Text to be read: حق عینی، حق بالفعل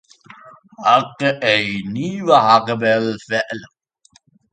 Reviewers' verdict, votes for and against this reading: rejected, 0, 2